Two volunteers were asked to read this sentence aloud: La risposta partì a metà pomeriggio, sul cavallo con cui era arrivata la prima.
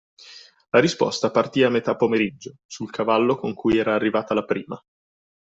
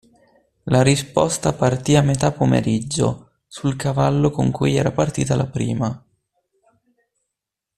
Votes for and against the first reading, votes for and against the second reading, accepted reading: 2, 0, 0, 2, first